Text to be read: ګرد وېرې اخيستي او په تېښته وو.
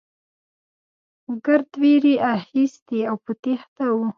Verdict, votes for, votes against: accepted, 2, 0